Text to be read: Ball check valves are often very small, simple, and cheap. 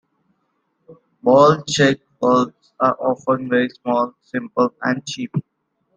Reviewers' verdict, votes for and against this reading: accepted, 2, 1